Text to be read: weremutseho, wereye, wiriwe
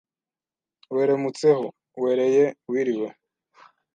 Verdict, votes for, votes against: rejected, 1, 2